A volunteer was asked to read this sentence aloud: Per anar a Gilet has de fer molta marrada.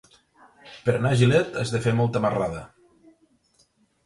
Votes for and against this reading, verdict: 0, 2, rejected